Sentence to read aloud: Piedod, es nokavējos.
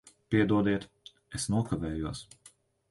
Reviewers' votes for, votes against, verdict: 1, 2, rejected